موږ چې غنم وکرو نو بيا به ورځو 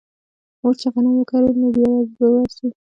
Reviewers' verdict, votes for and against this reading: accepted, 2, 0